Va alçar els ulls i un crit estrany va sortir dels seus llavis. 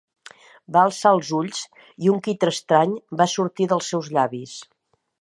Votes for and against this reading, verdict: 2, 0, accepted